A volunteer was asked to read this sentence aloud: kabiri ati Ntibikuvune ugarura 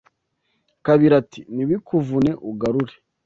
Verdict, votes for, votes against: rejected, 0, 2